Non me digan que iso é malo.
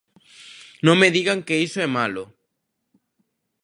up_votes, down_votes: 2, 0